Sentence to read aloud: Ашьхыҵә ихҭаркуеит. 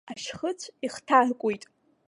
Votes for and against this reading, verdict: 2, 0, accepted